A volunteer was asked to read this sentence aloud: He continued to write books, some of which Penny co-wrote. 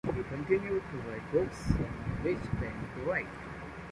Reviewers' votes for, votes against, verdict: 0, 2, rejected